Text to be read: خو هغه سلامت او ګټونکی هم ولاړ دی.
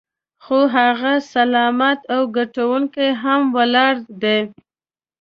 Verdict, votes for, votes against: accepted, 2, 0